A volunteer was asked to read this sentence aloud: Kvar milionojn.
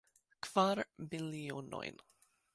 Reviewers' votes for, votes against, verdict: 2, 0, accepted